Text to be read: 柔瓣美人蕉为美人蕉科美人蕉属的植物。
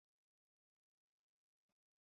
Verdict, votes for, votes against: rejected, 1, 2